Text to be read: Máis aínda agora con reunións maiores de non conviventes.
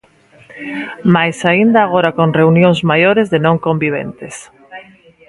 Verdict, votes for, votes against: accepted, 2, 1